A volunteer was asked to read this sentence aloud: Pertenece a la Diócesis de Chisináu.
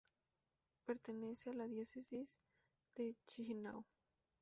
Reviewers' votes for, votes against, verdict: 0, 2, rejected